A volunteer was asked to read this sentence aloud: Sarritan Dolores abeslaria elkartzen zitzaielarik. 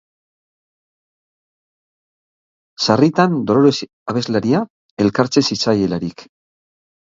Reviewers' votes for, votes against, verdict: 0, 2, rejected